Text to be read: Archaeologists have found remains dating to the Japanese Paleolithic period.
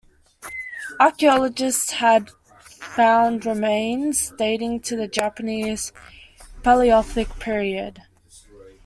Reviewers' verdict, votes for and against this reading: accepted, 2, 1